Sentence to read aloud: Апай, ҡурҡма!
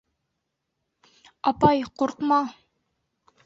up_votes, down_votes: 2, 0